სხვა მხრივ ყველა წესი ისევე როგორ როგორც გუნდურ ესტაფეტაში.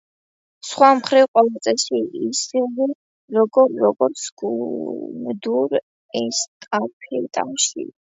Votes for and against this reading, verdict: 0, 2, rejected